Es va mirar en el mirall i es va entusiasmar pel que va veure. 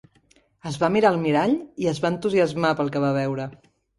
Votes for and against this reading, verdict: 0, 2, rejected